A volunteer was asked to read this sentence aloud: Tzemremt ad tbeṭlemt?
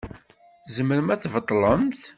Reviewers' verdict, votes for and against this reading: rejected, 1, 2